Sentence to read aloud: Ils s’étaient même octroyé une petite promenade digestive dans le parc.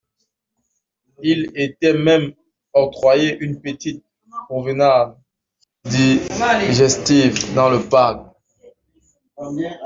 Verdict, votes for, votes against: rejected, 1, 2